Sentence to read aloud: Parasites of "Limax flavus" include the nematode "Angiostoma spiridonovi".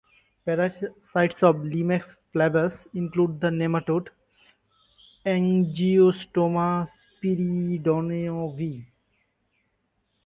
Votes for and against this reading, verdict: 1, 2, rejected